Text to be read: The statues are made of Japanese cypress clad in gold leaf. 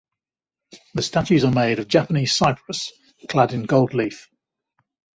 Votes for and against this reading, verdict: 2, 0, accepted